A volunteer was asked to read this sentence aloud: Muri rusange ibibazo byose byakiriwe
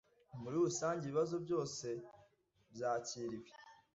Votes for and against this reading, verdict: 2, 0, accepted